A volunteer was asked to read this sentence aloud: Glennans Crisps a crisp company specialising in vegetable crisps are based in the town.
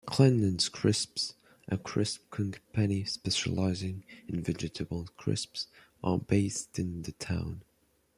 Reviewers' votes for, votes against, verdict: 2, 1, accepted